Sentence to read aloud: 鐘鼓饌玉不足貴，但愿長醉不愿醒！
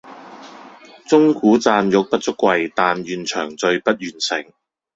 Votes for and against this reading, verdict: 2, 0, accepted